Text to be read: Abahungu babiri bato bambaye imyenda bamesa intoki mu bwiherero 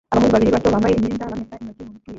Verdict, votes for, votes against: rejected, 0, 3